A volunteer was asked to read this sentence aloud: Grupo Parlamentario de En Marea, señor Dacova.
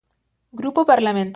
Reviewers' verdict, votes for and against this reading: rejected, 0, 2